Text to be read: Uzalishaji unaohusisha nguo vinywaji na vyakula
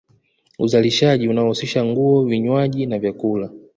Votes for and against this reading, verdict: 0, 2, rejected